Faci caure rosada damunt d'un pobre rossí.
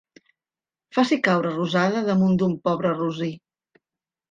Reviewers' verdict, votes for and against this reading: rejected, 1, 2